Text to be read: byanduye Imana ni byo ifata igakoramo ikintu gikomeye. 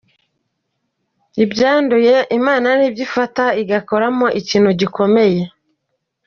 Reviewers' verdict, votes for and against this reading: accepted, 2, 0